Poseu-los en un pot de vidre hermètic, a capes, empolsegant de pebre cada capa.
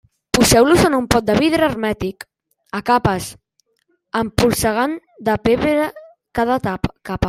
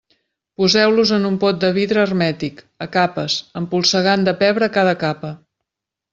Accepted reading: second